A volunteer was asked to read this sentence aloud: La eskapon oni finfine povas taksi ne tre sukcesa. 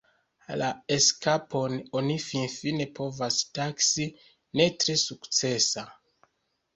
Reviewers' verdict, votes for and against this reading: rejected, 0, 2